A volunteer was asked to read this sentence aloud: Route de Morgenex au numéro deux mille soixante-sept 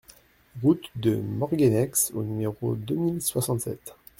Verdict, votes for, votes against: rejected, 1, 2